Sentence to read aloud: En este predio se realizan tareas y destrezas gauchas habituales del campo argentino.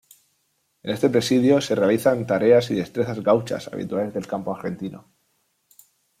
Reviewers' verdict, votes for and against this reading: rejected, 0, 2